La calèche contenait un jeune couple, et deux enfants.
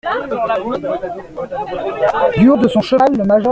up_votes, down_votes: 0, 2